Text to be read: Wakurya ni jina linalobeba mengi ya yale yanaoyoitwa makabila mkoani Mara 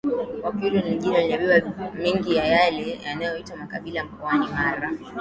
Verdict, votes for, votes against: rejected, 0, 2